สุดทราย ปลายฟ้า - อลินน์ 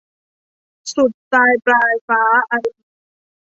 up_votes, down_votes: 0, 2